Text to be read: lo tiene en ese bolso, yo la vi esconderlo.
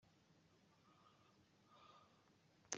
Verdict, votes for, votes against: rejected, 0, 2